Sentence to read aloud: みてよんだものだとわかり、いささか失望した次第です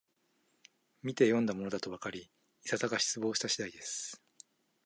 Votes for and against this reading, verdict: 2, 0, accepted